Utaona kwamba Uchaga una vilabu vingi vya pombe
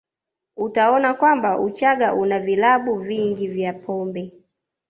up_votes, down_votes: 2, 0